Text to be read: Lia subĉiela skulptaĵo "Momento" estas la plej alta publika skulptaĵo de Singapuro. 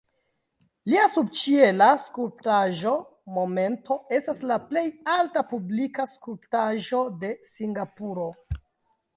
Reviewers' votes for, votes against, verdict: 2, 1, accepted